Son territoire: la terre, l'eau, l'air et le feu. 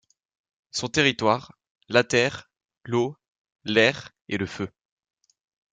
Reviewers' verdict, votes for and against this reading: accepted, 2, 0